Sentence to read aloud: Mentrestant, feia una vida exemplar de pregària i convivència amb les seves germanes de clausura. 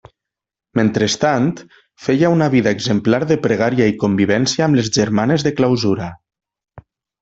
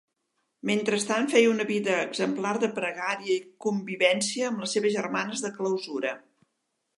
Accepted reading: second